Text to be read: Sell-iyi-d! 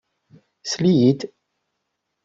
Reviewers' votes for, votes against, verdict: 2, 0, accepted